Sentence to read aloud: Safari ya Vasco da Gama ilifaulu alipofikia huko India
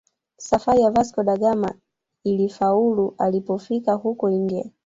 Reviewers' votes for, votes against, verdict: 1, 2, rejected